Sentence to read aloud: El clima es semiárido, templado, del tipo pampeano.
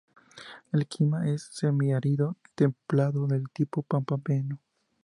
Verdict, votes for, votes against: accepted, 4, 0